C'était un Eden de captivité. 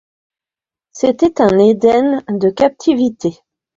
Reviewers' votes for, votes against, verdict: 2, 0, accepted